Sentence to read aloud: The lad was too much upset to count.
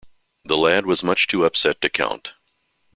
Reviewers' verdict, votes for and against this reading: rejected, 0, 2